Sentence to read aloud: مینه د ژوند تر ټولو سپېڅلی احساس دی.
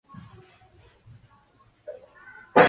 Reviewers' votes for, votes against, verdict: 0, 2, rejected